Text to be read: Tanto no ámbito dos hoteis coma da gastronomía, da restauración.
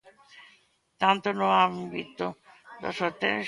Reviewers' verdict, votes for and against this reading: rejected, 0, 2